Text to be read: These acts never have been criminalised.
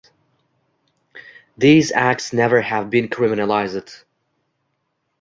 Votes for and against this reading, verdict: 0, 2, rejected